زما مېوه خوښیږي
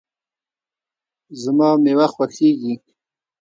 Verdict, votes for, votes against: accepted, 2, 0